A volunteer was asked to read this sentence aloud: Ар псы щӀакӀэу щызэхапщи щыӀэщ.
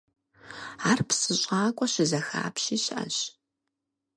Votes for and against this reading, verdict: 2, 4, rejected